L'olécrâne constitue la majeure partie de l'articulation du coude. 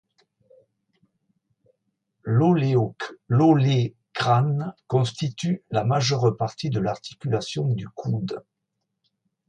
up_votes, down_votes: 1, 2